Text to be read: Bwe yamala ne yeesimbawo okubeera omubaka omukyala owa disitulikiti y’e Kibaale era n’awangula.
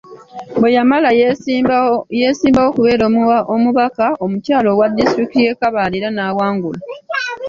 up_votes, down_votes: 0, 2